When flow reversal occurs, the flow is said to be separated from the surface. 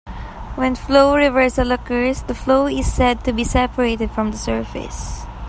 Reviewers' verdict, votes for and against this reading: accepted, 2, 1